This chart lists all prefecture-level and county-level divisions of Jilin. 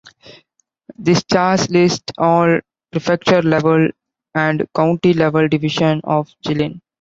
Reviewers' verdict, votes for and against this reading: rejected, 1, 2